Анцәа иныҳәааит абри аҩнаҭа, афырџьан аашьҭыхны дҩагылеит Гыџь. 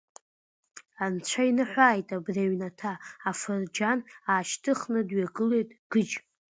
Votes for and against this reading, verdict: 2, 1, accepted